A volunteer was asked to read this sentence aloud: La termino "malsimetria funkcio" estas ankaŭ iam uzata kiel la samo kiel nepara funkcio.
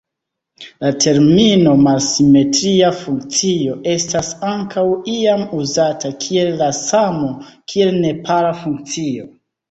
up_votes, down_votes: 1, 2